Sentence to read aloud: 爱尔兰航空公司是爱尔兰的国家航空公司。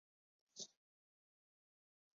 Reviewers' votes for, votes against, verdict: 0, 2, rejected